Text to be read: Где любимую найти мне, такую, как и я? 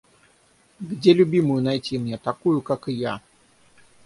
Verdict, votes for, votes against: accepted, 6, 0